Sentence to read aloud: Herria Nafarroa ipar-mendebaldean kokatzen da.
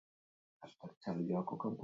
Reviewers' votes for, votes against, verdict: 0, 2, rejected